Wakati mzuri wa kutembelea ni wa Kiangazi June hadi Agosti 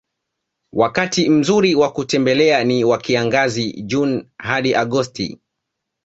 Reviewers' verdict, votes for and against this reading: accepted, 2, 1